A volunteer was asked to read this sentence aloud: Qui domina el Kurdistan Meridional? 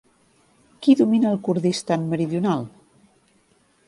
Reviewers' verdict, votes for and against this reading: accepted, 4, 0